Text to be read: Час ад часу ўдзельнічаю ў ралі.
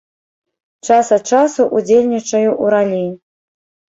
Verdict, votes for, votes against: rejected, 1, 2